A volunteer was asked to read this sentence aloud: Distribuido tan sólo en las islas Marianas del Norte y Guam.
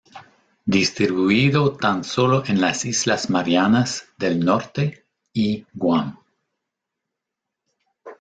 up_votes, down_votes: 1, 2